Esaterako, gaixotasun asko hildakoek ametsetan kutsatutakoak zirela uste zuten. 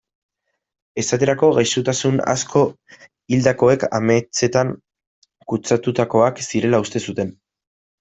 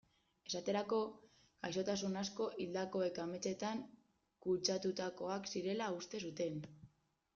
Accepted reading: second